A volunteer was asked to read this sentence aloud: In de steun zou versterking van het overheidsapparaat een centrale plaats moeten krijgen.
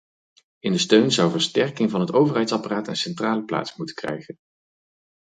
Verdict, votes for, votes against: accepted, 4, 0